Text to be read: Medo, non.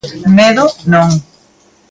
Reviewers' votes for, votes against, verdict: 1, 2, rejected